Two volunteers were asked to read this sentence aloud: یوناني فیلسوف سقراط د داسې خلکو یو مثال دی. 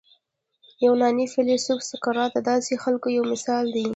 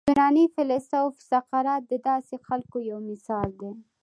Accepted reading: second